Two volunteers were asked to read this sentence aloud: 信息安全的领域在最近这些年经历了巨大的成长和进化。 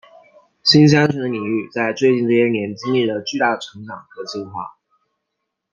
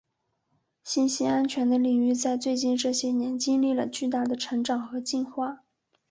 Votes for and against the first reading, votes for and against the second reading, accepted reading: 1, 2, 3, 0, second